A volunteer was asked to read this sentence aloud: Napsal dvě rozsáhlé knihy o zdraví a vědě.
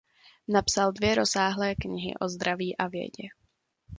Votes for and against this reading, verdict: 2, 0, accepted